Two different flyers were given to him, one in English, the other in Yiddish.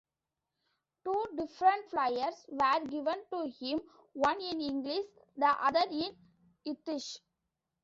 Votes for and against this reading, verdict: 2, 1, accepted